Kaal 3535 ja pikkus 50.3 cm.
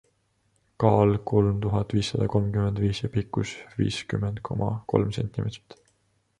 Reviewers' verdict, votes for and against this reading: rejected, 0, 2